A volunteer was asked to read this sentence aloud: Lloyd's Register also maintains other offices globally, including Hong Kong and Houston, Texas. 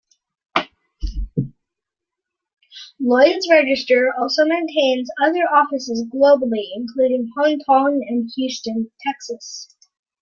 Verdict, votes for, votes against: accepted, 2, 0